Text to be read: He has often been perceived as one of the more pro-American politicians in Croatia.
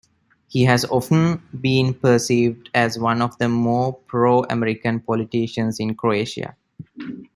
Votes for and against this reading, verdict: 2, 1, accepted